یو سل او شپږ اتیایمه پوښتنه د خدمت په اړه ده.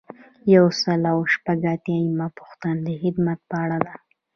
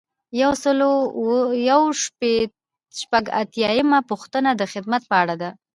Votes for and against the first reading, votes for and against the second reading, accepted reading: 2, 0, 1, 2, first